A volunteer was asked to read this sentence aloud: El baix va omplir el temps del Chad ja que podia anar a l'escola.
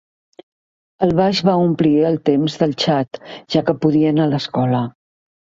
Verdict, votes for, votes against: accepted, 2, 0